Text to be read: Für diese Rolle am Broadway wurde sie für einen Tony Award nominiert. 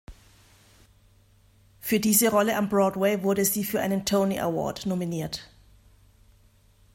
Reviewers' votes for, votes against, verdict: 2, 0, accepted